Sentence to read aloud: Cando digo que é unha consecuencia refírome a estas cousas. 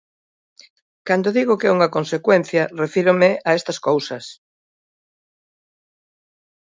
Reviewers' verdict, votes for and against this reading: accepted, 2, 0